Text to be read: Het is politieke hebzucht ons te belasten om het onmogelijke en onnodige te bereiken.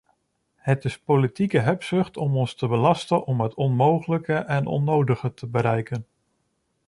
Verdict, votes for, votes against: rejected, 0, 2